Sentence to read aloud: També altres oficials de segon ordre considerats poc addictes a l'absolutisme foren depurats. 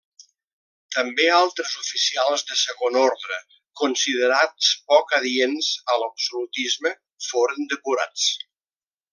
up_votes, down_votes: 0, 3